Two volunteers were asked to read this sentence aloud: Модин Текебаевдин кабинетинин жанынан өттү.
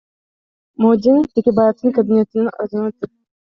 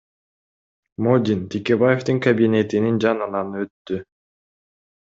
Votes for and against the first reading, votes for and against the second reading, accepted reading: 0, 2, 2, 0, second